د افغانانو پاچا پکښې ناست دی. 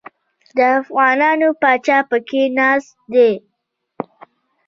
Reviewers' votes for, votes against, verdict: 2, 0, accepted